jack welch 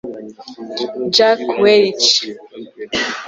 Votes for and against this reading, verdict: 1, 2, rejected